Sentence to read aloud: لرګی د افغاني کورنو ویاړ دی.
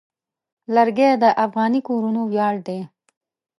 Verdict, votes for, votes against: rejected, 0, 2